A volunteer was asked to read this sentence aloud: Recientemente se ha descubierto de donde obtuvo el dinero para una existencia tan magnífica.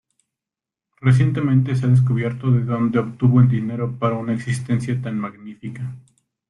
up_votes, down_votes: 1, 2